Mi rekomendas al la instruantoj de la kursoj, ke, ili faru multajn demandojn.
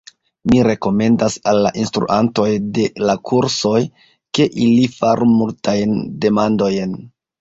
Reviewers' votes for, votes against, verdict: 1, 2, rejected